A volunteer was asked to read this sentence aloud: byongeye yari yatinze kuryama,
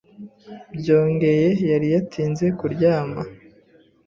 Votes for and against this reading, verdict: 2, 0, accepted